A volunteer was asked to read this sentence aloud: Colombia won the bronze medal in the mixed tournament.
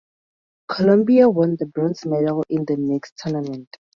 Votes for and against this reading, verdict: 2, 0, accepted